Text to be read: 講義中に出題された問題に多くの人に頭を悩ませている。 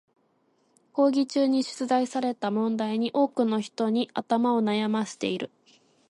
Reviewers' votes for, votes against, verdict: 2, 0, accepted